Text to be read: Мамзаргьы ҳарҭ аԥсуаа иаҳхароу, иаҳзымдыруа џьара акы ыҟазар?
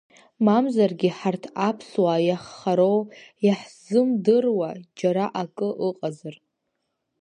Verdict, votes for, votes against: accepted, 2, 1